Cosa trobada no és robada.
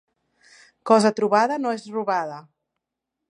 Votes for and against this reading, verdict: 3, 0, accepted